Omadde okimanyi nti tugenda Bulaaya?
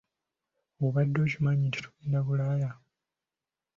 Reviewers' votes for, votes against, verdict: 1, 2, rejected